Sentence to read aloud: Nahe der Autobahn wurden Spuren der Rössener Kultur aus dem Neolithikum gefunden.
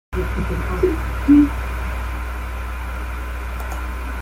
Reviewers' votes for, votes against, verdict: 0, 2, rejected